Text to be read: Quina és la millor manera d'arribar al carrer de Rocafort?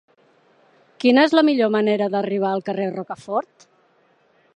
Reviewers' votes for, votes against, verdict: 2, 3, rejected